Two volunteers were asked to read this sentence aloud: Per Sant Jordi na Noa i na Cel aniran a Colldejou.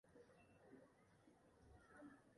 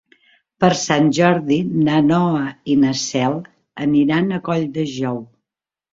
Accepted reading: second